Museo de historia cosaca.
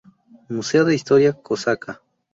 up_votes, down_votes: 6, 0